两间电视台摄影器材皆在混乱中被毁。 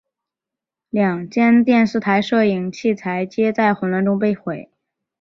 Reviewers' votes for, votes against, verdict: 2, 1, accepted